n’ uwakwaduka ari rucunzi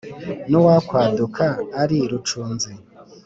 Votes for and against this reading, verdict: 4, 0, accepted